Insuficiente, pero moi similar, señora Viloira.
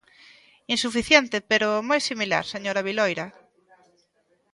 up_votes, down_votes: 2, 0